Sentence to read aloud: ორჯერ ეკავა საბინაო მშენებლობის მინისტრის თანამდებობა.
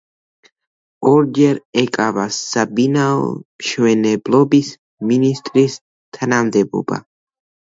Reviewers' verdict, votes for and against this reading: rejected, 0, 2